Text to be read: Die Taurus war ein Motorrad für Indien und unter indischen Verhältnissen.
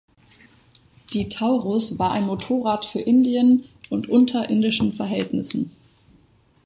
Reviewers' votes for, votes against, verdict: 2, 0, accepted